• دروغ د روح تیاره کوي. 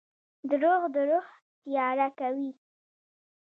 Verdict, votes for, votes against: accepted, 2, 0